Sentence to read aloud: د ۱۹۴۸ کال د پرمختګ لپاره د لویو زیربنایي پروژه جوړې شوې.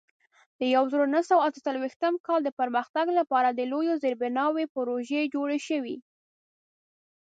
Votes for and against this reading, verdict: 0, 2, rejected